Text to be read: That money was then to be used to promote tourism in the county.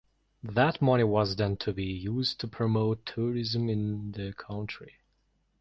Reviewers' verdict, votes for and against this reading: rejected, 0, 2